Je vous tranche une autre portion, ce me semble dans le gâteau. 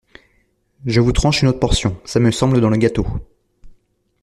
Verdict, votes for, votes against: accepted, 2, 0